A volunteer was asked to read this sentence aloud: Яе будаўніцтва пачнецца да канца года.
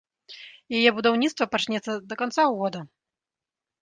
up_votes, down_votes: 1, 2